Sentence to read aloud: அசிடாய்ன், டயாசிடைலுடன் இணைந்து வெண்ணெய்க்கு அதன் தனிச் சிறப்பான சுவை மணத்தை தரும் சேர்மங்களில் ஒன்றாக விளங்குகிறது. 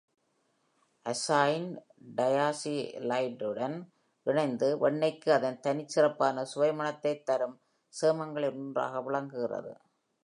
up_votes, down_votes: 1, 2